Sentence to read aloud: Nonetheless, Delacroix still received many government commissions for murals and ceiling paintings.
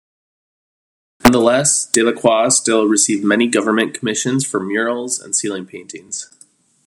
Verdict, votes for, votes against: rejected, 1, 2